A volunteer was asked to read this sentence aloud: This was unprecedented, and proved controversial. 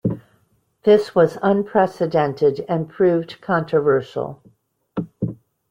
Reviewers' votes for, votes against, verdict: 2, 0, accepted